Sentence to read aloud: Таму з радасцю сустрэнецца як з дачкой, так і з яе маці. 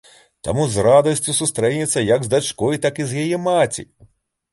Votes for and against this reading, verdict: 2, 0, accepted